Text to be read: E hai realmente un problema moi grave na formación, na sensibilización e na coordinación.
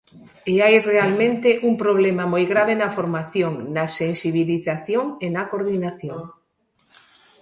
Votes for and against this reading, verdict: 2, 0, accepted